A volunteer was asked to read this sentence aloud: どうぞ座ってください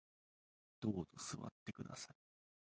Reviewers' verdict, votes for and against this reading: rejected, 1, 2